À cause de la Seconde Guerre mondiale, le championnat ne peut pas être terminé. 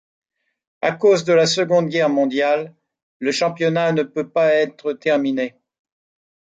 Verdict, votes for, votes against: accepted, 2, 0